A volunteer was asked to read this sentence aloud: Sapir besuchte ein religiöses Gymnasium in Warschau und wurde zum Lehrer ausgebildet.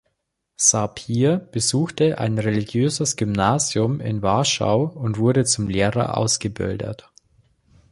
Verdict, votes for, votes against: accepted, 2, 0